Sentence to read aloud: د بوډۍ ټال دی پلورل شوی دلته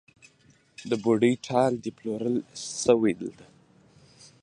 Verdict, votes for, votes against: accepted, 2, 0